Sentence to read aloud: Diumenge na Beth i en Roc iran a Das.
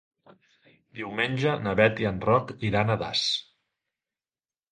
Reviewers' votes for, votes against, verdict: 4, 0, accepted